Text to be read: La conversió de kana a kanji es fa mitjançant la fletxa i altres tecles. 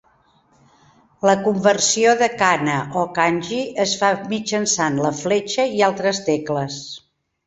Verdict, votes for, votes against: rejected, 0, 3